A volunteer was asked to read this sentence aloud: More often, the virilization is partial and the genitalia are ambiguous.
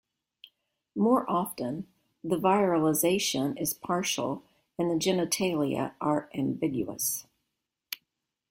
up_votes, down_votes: 2, 0